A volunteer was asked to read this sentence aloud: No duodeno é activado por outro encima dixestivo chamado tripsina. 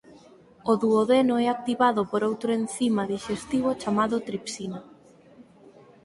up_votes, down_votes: 0, 4